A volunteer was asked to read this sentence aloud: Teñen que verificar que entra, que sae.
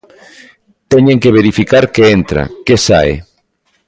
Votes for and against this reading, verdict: 1, 2, rejected